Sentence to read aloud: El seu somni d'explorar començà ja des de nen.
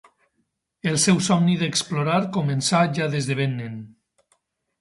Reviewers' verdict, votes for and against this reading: rejected, 0, 6